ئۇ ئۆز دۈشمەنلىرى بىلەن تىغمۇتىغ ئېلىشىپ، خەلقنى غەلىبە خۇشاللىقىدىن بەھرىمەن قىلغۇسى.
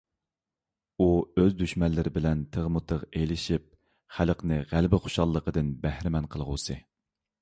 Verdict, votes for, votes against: accepted, 2, 0